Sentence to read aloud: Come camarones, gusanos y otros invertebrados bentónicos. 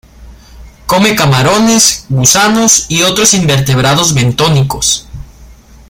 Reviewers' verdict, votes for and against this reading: accepted, 2, 0